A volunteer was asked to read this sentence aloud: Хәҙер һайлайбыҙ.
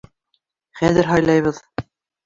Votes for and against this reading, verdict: 2, 1, accepted